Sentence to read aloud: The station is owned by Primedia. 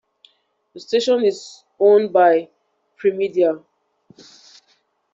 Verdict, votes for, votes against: accepted, 2, 0